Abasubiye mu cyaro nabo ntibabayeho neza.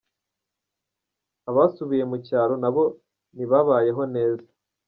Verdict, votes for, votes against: accepted, 3, 2